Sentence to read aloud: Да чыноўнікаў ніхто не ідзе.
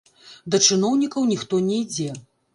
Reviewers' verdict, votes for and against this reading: rejected, 0, 2